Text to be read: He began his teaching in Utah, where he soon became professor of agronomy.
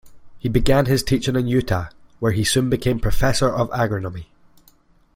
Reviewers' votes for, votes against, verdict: 2, 0, accepted